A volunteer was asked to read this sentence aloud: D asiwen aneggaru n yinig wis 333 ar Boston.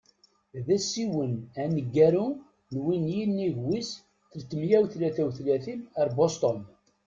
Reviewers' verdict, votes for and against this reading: rejected, 0, 2